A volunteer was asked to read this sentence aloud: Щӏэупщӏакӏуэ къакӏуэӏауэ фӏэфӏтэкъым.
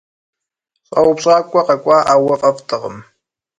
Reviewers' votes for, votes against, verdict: 0, 2, rejected